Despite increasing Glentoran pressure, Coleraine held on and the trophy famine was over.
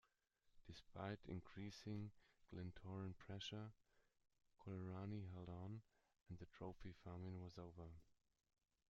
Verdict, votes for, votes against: rejected, 0, 2